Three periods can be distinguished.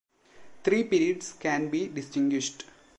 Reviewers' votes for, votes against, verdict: 2, 0, accepted